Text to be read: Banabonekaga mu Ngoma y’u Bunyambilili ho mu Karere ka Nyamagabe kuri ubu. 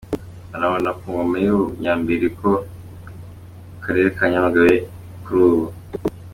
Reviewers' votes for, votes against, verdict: 0, 2, rejected